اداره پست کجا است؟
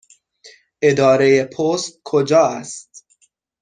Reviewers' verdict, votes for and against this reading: accepted, 6, 0